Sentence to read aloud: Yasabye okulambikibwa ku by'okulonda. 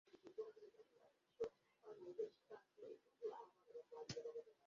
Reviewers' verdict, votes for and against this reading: rejected, 0, 2